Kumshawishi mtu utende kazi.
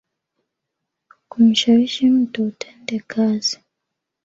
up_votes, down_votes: 1, 2